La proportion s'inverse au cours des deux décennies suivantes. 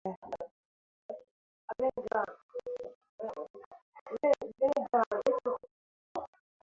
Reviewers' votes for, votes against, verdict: 0, 2, rejected